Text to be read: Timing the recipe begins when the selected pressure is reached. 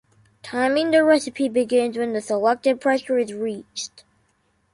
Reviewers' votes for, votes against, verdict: 2, 0, accepted